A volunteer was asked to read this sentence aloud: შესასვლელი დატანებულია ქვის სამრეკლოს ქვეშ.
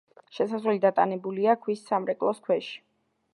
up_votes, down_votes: 2, 0